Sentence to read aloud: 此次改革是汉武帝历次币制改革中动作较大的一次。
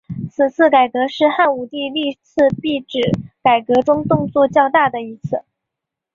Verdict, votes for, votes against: accepted, 2, 0